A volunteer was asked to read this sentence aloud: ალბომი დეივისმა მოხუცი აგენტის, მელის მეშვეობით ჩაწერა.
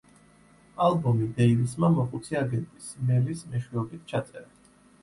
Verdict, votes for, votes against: accepted, 2, 0